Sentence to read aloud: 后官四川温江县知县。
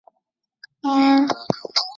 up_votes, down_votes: 0, 5